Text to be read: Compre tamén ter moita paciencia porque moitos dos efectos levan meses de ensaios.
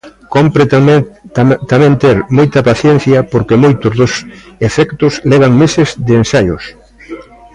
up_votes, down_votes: 0, 2